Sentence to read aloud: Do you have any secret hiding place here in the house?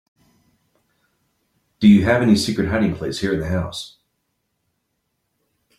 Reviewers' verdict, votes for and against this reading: accepted, 7, 0